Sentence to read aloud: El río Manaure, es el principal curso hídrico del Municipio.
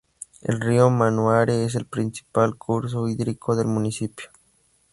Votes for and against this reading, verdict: 2, 0, accepted